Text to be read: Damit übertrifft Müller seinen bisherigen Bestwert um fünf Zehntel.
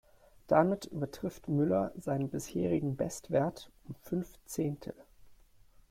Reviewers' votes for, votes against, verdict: 2, 0, accepted